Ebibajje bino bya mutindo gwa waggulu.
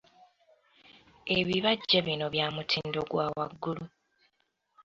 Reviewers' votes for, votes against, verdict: 2, 1, accepted